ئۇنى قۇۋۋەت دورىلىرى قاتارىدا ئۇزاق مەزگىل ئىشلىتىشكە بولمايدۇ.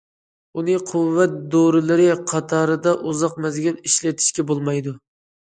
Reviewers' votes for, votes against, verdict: 2, 0, accepted